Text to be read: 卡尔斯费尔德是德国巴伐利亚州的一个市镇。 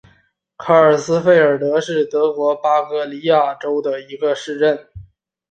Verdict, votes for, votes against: accepted, 3, 0